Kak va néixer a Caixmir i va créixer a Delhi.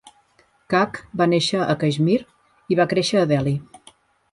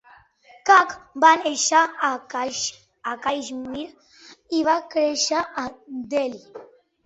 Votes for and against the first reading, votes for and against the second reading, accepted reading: 2, 1, 1, 2, first